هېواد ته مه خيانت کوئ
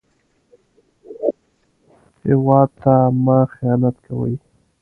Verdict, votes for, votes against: rejected, 0, 2